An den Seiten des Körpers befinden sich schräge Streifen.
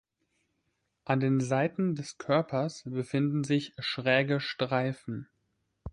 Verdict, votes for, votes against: accepted, 2, 0